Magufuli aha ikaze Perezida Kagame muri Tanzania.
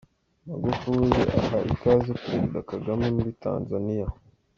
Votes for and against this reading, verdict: 2, 1, accepted